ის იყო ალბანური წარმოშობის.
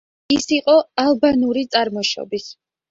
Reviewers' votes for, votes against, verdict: 2, 0, accepted